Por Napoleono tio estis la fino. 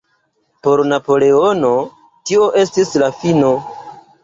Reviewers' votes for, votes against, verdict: 2, 0, accepted